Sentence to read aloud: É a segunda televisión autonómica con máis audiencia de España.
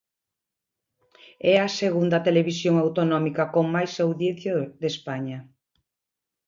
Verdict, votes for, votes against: rejected, 0, 2